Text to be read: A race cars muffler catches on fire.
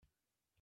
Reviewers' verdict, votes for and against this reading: rejected, 0, 2